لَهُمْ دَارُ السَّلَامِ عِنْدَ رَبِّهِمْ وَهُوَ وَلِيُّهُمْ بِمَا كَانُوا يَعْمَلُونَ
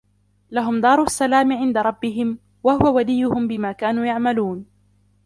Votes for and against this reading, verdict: 2, 1, accepted